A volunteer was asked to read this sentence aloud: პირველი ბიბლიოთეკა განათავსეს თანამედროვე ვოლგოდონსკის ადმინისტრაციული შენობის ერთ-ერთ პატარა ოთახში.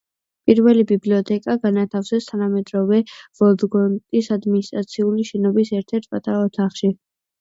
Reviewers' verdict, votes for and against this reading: accepted, 2, 1